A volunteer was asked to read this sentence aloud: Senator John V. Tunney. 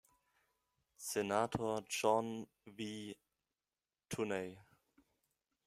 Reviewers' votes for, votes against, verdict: 0, 2, rejected